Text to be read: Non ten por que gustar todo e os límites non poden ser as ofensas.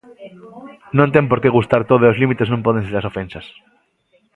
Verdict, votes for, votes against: rejected, 0, 2